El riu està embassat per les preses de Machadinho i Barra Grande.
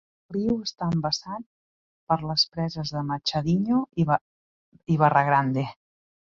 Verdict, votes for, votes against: rejected, 0, 3